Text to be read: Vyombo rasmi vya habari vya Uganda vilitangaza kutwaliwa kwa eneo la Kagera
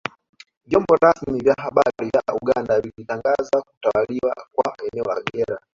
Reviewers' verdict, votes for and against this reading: rejected, 1, 2